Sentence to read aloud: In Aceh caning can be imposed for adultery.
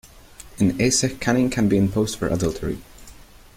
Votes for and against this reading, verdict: 2, 0, accepted